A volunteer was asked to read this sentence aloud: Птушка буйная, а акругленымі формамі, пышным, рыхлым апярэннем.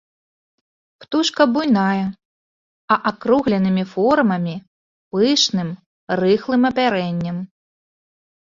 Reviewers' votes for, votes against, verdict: 2, 0, accepted